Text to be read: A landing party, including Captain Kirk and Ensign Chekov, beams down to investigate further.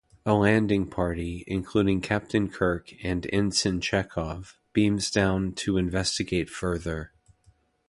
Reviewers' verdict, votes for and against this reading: accepted, 2, 0